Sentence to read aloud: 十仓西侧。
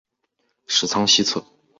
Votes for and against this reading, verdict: 6, 0, accepted